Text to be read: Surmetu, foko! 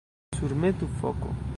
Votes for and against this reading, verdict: 1, 2, rejected